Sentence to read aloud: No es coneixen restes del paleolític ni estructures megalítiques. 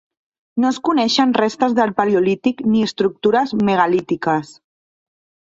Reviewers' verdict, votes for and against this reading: accepted, 3, 0